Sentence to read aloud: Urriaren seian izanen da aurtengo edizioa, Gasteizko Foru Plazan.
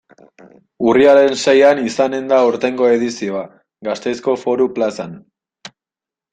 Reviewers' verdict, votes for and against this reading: accepted, 2, 0